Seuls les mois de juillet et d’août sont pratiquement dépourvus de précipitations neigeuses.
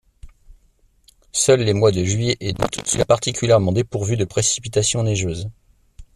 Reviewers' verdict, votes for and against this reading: rejected, 1, 2